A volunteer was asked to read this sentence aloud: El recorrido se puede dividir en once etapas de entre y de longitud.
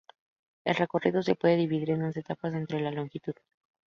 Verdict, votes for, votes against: accepted, 2, 0